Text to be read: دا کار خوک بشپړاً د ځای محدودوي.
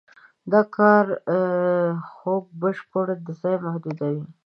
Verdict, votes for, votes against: rejected, 0, 2